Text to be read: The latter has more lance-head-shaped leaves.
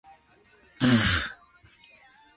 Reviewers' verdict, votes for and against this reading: rejected, 0, 3